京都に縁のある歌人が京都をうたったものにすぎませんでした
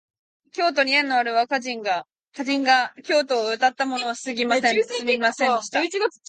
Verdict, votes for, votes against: rejected, 0, 2